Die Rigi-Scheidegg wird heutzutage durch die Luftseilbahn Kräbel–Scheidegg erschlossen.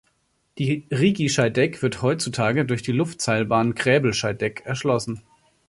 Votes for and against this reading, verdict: 2, 0, accepted